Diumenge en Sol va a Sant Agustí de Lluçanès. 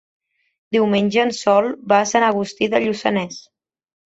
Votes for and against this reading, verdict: 3, 0, accepted